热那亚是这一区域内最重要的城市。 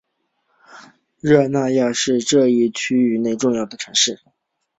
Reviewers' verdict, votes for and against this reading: accepted, 2, 0